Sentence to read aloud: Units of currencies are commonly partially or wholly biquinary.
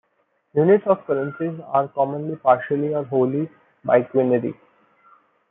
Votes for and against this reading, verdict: 0, 2, rejected